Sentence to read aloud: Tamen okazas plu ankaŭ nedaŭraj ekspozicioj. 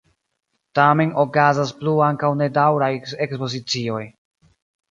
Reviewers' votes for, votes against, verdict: 2, 0, accepted